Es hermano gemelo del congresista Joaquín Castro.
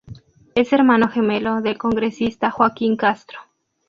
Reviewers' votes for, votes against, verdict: 2, 0, accepted